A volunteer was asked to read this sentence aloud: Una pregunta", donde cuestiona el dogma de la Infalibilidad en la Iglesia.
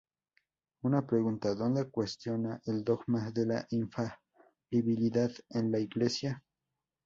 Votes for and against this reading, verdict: 0, 2, rejected